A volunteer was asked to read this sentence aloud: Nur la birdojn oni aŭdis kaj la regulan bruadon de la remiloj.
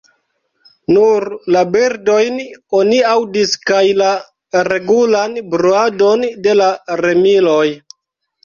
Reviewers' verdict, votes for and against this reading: rejected, 1, 2